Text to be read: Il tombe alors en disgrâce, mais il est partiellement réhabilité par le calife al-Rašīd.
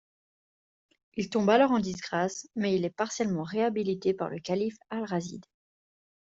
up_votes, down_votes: 2, 0